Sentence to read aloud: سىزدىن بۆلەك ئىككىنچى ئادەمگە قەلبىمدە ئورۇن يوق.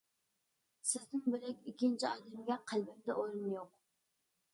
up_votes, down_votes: 2, 0